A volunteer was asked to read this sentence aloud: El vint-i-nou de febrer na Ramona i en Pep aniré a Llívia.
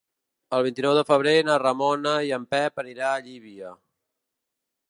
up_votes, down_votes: 0, 2